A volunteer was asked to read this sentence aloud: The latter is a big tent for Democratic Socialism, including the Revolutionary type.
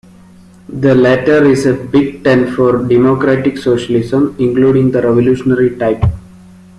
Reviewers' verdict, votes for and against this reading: accepted, 2, 0